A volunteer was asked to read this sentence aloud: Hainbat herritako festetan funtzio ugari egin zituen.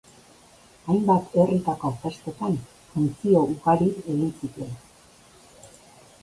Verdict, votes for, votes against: accepted, 2, 0